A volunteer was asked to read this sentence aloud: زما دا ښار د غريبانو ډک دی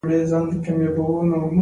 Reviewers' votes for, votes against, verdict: 2, 1, accepted